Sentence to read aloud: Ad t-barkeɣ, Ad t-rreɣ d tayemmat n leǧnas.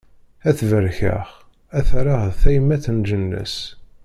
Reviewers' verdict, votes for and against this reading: rejected, 1, 2